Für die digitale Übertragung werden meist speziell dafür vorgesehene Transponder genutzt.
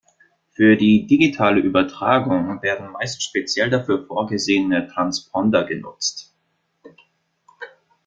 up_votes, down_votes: 2, 0